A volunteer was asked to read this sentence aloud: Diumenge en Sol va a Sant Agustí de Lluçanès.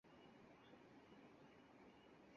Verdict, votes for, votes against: rejected, 0, 4